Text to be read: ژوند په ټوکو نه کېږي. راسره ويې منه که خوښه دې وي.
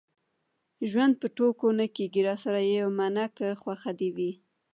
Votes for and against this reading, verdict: 1, 2, rejected